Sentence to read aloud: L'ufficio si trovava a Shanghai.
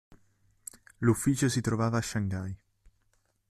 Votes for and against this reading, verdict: 2, 1, accepted